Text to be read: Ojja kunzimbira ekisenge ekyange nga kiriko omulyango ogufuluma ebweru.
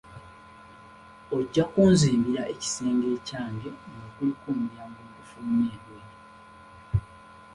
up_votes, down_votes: 2, 1